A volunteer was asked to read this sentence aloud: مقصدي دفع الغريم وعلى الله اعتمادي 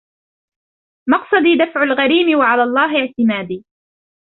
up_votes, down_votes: 0, 2